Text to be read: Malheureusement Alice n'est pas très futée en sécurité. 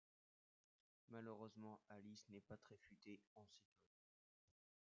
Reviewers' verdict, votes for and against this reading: rejected, 1, 2